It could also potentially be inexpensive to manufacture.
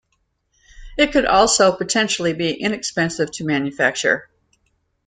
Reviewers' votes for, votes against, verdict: 2, 0, accepted